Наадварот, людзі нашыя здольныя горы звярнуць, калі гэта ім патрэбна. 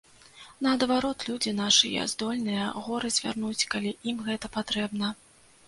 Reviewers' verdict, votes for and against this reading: rejected, 0, 2